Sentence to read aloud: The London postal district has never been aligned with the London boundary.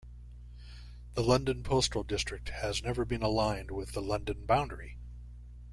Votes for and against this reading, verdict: 2, 0, accepted